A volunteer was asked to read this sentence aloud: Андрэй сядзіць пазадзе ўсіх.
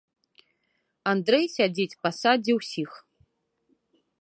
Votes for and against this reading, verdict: 0, 2, rejected